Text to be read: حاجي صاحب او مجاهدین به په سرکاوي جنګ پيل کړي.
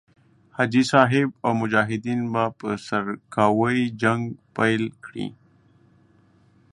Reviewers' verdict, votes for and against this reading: rejected, 1, 2